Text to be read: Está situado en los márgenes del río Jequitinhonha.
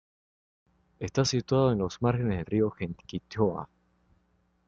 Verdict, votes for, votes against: rejected, 1, 2